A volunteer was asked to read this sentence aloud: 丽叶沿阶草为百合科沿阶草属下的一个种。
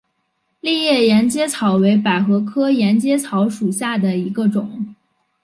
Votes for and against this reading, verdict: 1, 2, rejected